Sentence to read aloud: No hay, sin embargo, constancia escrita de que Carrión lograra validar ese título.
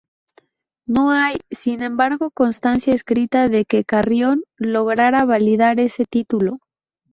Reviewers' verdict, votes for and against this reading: accepted, 2, 0